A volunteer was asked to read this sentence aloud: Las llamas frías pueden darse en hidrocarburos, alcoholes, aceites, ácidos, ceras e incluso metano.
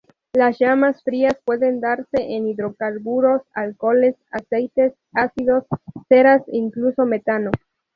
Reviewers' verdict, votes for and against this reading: accepted, 2, 0